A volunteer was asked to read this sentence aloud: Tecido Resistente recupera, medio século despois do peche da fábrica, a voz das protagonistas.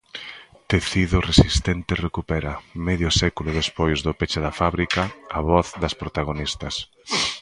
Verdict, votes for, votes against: accepted, 2, 0